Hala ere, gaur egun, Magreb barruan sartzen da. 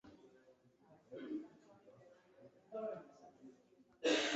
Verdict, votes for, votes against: rejected, 0, 2